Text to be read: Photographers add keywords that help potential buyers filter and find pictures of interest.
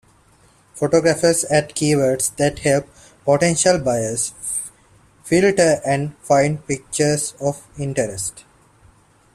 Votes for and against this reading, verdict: 2, 0, accepted